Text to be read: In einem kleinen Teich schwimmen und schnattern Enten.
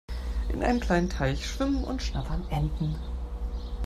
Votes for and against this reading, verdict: 3, 0, accepted